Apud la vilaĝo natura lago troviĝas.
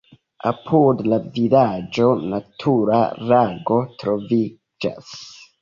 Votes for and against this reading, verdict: 2, 0, accepted